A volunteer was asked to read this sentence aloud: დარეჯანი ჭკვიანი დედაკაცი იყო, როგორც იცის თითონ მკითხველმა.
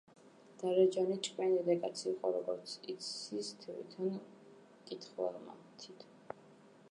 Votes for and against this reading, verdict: 0, 2, rejected